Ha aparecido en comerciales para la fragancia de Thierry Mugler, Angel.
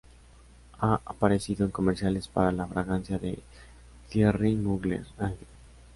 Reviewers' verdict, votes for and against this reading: rejected, 0, 2